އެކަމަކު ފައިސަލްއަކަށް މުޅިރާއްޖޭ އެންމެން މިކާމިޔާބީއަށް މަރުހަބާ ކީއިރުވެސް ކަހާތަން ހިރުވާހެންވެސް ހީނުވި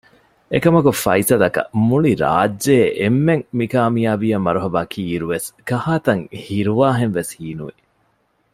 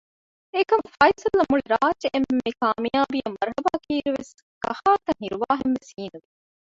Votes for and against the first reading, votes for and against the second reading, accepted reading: 2, 0, 0, 2, first